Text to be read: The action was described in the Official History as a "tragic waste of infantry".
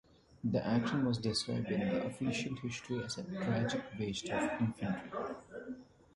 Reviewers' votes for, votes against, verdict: 0, 2, rejected